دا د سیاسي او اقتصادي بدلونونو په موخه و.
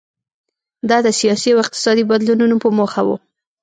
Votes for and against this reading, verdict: 2, 0, accepted